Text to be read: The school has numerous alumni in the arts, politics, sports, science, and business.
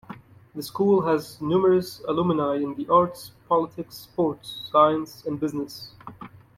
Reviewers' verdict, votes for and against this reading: rejected, 1, 2